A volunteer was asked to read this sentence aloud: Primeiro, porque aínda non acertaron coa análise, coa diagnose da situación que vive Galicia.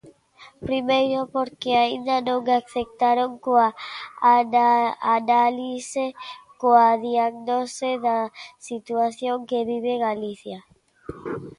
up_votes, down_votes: 0, 2